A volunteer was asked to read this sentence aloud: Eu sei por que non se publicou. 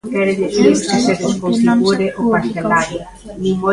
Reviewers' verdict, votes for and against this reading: rejected, 0, 2